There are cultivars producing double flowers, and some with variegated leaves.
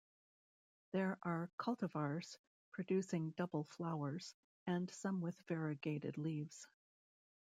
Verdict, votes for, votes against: accepted, 2, 0